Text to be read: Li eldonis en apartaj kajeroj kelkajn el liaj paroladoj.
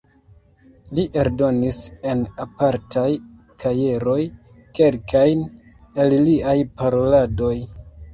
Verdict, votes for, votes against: accepted, 2, 1